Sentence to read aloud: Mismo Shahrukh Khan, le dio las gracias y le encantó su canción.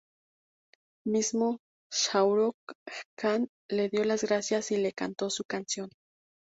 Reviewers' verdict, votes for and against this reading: rejected, 0, 2